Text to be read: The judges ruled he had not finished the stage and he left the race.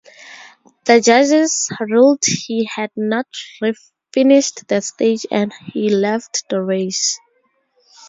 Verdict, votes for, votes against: accepted, 4, 0